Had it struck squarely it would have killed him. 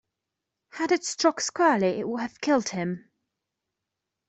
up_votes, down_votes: 2, 0